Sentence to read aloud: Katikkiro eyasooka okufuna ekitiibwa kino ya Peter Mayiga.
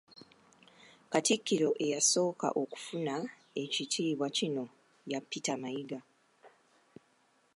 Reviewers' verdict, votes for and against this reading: accepted, 2, 1